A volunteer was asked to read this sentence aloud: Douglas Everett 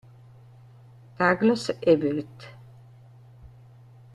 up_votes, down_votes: 3, 0